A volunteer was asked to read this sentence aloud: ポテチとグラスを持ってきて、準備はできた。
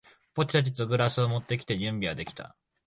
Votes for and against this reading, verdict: 1, 2, rejected